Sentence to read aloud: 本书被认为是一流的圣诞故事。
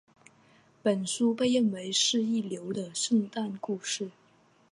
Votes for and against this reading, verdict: 3, 0, accepted